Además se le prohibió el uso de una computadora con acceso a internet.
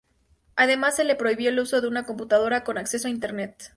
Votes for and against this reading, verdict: 4, 0, accepted